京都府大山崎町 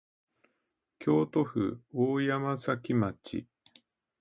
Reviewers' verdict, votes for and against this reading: accepted, 2, 0